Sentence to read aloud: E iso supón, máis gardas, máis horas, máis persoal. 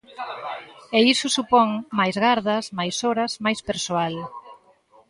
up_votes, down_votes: 0, 2